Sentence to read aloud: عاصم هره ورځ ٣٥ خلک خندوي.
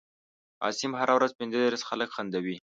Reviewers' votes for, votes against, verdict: 0, 2, rejected